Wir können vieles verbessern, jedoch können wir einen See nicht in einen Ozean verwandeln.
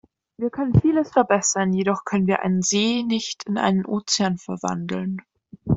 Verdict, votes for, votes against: accepted, 2, 0